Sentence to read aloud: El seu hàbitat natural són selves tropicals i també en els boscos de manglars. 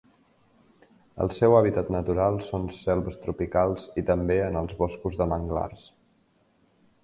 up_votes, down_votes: 2, 0